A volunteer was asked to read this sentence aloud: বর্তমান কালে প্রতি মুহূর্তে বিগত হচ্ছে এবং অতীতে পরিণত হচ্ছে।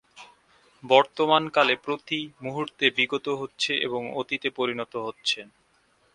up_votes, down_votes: 16, 0